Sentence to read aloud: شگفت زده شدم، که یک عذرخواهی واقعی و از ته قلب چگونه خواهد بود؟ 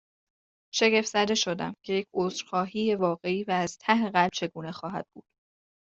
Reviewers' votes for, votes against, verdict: 2, 0, accepted